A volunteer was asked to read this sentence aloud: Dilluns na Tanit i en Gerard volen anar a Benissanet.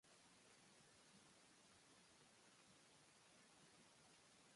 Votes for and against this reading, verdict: 0, 4, rejected